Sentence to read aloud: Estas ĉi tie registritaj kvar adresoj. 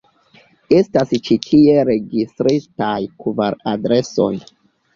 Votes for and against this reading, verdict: 0, 2, rejected